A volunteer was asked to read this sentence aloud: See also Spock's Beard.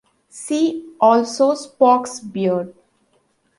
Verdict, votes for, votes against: accepted, 2, 0